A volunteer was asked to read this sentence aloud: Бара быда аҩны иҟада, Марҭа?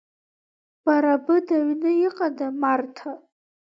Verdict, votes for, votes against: rejected, 1, 2